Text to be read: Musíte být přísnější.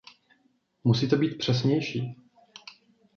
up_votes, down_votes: 0, 2